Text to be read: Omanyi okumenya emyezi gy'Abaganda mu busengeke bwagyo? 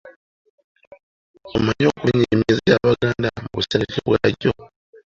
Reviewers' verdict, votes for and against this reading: rejected, 1, 2